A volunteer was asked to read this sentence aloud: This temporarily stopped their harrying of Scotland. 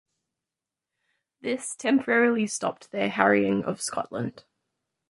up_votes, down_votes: 2, 0